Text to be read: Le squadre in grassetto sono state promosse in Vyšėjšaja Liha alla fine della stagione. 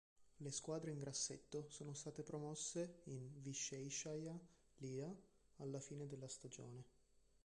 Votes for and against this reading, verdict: 0, 2, rejected